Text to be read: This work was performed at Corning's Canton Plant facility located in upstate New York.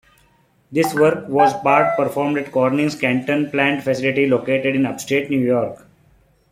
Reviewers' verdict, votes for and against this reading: rejected, 0, 2